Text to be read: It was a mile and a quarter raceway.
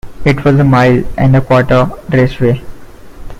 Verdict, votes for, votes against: accepted, 2, 1